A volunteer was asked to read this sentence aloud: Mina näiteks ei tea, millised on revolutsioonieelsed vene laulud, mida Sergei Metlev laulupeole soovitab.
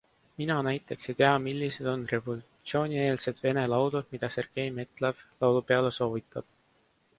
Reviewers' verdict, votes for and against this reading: accepted, 3, 1